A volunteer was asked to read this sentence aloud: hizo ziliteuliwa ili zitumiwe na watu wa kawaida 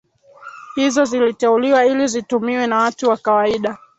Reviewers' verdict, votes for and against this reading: rejected, 0, 2